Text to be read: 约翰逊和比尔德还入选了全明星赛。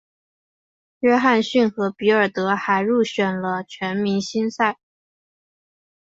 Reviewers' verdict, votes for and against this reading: accepted, 2, 0